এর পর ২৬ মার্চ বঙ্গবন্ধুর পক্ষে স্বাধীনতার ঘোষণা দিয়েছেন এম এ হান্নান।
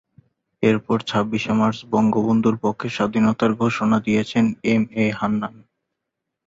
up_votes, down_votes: 0, 2